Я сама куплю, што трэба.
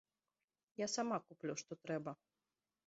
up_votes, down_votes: 1, 2